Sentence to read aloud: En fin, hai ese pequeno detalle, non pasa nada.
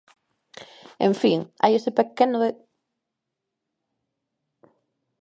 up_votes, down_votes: 0, 2